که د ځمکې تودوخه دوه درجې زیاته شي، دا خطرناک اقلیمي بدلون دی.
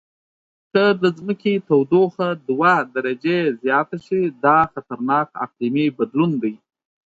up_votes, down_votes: 2, 0